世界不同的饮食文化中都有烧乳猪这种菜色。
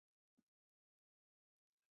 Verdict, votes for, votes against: rejected, 0, 2